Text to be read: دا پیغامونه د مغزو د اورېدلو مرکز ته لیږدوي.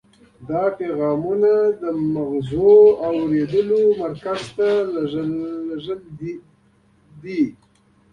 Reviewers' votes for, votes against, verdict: 2, 1, accepted